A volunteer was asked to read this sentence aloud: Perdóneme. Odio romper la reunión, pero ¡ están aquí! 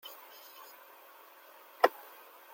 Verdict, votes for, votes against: rejected, 0, 2